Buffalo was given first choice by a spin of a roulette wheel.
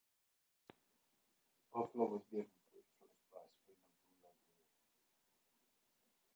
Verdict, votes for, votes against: rejected, 0, 2